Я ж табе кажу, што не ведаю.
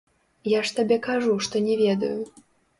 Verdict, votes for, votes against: rejected, 0, 2